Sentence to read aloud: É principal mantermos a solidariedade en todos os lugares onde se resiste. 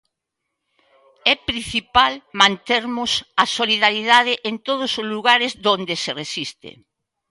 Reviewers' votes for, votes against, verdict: 0, 2, rejected